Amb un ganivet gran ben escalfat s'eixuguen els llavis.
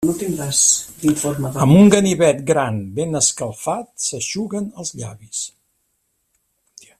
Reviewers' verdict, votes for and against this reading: rejected, 1, 2